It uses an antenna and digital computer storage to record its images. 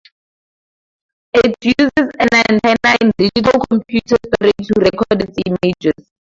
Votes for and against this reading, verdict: 0, 2, rejected